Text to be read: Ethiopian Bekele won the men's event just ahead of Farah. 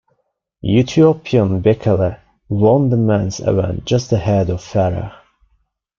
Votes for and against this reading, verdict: 0, 2, rejected